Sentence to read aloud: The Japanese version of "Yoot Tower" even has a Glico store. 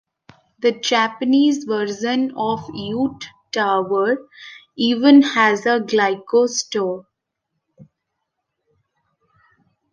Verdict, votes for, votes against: rejected, 1, 2